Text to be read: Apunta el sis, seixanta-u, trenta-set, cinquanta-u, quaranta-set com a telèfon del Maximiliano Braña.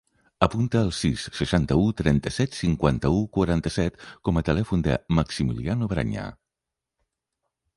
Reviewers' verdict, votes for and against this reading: accepted, 2, 1